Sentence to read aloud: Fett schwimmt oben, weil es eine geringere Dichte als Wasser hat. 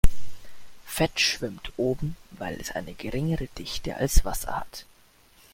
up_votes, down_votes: 2, 0